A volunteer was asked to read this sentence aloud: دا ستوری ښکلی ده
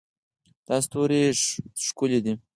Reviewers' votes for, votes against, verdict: 4, 0, accepted